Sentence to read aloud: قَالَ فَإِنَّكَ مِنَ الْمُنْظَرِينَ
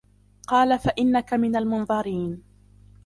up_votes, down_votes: 2, 1